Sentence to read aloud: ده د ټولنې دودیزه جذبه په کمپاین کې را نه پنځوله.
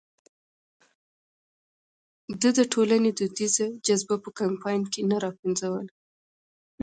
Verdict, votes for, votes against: accepted, 2, 0